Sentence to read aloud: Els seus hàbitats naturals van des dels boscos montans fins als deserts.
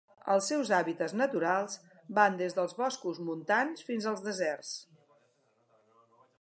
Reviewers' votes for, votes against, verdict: 4, 0, accepted